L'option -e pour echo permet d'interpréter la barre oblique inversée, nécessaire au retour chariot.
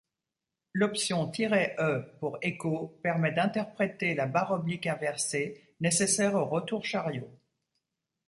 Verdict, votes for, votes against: rejected, 0, 2